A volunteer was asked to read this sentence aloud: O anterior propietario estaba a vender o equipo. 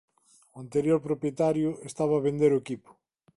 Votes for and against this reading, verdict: 2, 0, accepted